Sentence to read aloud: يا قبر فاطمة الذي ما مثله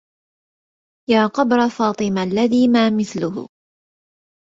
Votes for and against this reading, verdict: 1, 2, rejected